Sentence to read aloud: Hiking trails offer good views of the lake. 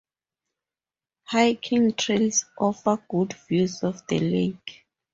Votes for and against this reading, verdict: 0, 2, rejected